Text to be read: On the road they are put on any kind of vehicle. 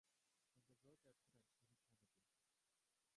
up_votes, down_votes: 0, 2